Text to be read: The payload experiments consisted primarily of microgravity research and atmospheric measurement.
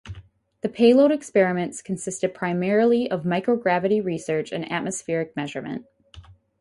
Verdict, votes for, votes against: rejected, 2, 2